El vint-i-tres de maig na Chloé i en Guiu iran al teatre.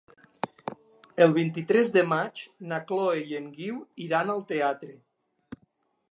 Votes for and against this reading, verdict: 3, 1, accepted